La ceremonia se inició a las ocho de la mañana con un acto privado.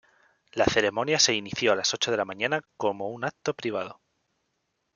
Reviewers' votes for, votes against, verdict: 1, 2, rejected